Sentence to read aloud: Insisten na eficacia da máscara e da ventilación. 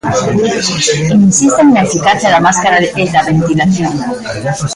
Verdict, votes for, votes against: rejected, 0, 2